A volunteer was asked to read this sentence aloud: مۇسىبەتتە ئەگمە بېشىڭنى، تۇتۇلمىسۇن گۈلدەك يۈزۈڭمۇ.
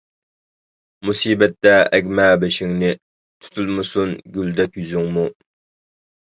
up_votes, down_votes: 2, 0